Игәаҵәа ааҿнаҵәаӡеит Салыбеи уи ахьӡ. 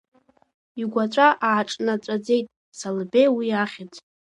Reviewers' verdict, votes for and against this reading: rejected, 0, 2